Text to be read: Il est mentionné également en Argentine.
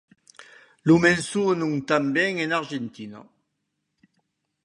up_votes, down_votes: 0, 2